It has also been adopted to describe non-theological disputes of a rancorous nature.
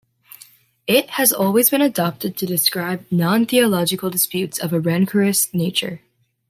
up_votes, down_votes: 1, 2